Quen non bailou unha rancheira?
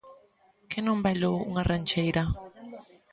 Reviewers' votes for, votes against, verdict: 2, 0, accepted